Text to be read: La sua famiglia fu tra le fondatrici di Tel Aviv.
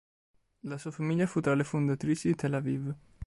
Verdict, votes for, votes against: accepted, 2, 0